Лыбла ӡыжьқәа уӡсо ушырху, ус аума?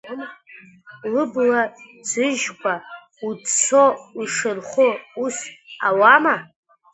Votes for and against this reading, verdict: 1, 2, rejected